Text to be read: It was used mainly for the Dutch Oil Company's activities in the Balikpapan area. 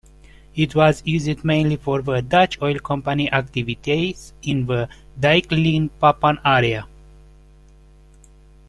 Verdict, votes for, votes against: rejected, 0, 2